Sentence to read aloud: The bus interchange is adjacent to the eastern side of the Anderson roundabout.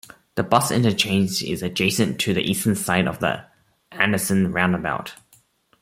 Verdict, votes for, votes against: accepted, 2, 0